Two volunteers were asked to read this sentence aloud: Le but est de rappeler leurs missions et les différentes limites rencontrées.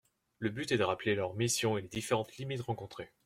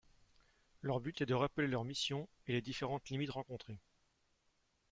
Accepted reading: first